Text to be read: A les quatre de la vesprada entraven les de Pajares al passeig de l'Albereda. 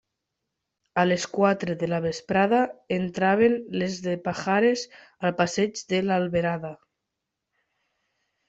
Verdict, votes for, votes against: rejected, 1, 3